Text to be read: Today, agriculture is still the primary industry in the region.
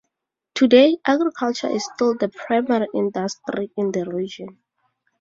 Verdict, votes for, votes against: accepted, 2, 0